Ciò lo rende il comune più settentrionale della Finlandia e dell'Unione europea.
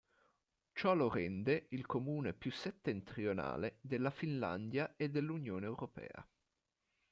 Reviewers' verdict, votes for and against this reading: accepted, 2, 0